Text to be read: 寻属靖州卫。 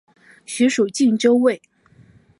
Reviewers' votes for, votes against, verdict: 3, 0, accepted